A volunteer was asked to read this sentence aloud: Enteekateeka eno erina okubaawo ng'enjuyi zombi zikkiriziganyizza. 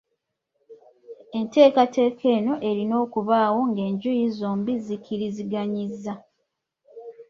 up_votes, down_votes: 2, 0